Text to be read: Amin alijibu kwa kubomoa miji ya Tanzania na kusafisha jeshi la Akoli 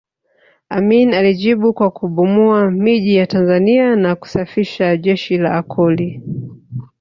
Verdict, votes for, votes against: rejected, 0, 2